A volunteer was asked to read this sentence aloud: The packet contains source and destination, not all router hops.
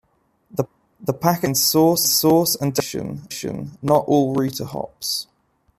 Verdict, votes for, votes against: rejected, 0, 2